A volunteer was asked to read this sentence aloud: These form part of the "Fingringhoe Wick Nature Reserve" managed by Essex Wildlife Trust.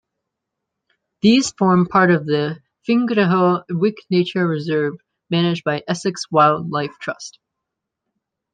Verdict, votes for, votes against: rejected, 1, 2